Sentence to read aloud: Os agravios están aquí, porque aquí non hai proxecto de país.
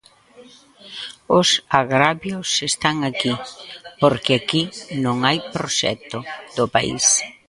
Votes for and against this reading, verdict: 0, 2, rejected